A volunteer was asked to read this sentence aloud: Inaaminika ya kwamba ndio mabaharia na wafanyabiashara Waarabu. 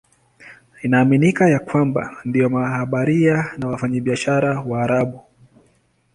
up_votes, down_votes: 1, 2